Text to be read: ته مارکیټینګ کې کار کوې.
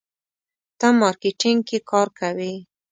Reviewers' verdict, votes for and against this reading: accepted, 2, 0